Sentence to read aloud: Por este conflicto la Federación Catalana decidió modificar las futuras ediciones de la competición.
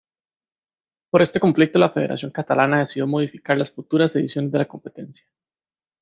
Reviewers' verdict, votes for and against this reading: rejected, 0, 2